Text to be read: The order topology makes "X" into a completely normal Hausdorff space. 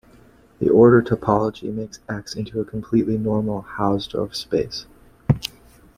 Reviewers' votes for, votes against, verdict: 2, 0, accepted